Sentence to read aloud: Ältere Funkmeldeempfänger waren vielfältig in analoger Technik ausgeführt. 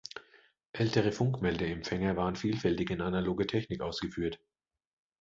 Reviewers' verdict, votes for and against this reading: accepted, 2, 0